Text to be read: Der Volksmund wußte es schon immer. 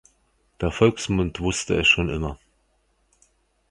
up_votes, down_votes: 2, 0